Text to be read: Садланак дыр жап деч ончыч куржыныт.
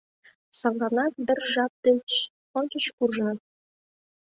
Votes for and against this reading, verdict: 2, 0, accepted